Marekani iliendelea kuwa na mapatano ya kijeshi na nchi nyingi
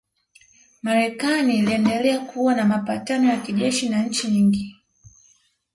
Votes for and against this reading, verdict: 0, 2, rejected